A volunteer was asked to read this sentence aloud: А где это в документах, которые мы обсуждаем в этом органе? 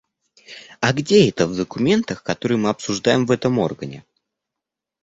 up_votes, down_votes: 2, 0